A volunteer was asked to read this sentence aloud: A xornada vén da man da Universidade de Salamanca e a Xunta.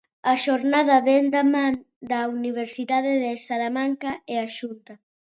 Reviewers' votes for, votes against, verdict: 2, 0, accepted